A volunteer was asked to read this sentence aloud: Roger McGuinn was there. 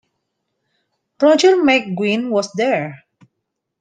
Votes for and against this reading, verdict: 2, 0, accepted